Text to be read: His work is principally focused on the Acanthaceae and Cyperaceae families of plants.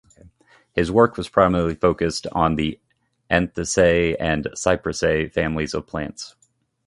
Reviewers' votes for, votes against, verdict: 0, 2, rejected